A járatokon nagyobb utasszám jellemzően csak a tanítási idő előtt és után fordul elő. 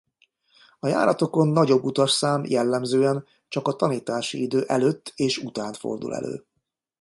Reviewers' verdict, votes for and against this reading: accepted, 2, 0